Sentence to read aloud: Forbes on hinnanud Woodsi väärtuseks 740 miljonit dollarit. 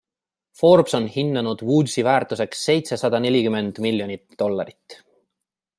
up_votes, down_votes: 0, 2